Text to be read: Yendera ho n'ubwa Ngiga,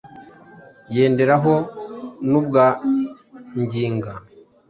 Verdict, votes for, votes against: rejected, 0, 2